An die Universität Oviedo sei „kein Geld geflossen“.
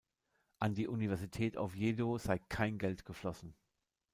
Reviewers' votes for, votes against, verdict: 1, 2, rejected